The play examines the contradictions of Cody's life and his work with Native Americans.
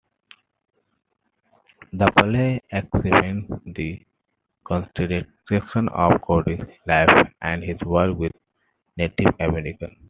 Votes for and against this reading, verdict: 2, 1, accepted